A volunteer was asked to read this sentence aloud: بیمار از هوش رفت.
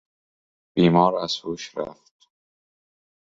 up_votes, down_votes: 2, 0